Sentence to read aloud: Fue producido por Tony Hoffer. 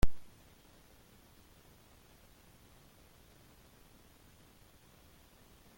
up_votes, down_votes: 0, 2